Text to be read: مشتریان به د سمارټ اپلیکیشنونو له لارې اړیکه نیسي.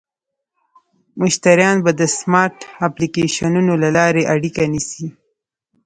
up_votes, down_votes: 2, 0